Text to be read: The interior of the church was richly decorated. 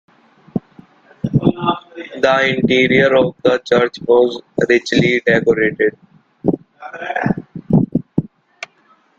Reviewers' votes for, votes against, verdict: 0, 2, rejected